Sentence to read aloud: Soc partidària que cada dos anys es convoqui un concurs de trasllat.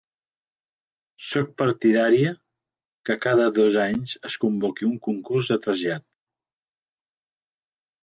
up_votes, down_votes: 2, 0